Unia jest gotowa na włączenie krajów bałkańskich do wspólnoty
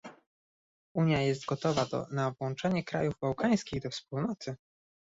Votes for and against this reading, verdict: 0, 2, rejected